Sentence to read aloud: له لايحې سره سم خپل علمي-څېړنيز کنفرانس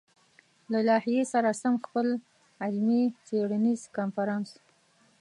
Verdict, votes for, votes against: accepted, 2, 0